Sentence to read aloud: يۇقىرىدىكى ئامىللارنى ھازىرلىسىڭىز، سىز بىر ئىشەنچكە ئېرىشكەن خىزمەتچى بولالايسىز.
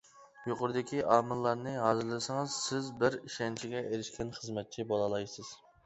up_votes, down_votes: 1, 2